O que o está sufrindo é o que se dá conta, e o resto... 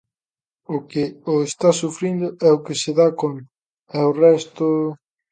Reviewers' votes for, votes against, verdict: 1, 2, rejected